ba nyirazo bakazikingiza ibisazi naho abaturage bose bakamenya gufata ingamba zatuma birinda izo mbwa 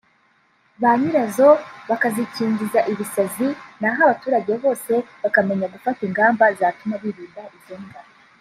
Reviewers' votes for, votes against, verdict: 2, 0, accepted